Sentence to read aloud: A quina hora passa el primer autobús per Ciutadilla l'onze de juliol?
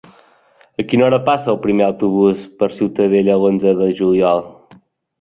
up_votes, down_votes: 0, 2